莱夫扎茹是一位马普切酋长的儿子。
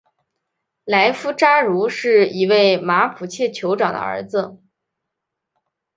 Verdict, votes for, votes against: accepted, 3, 0